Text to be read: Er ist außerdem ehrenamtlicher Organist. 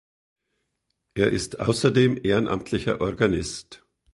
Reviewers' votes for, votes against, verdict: 3, 0, accepted